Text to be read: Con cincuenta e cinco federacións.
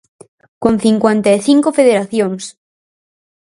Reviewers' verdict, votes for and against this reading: accepted, 4, 0